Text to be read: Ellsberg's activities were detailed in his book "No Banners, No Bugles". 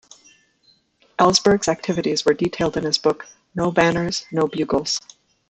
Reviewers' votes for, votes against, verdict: 1, 2, rejected